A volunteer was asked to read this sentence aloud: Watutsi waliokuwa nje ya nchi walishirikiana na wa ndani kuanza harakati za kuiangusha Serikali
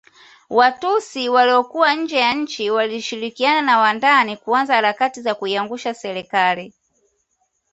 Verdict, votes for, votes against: accepted, 2, 0